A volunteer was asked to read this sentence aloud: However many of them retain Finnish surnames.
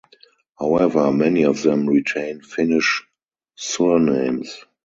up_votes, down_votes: 0, 4